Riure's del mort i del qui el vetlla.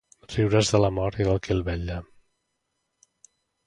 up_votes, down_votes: 0, 3